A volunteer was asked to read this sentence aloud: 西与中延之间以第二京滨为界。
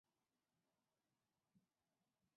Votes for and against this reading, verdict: 0, 3, rejected